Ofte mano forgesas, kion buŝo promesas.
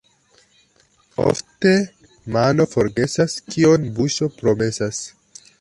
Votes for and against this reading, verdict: 1, 2, rejected